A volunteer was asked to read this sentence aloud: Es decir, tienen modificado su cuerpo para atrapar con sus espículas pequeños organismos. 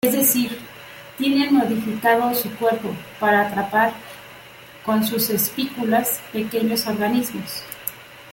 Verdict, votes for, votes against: rejected, 1, 2